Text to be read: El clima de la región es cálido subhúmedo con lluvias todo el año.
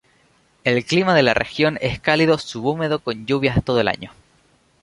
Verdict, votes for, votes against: rejected, 0, 2